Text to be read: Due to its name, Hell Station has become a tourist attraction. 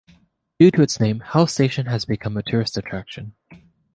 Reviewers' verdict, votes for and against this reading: accepted, 2, 0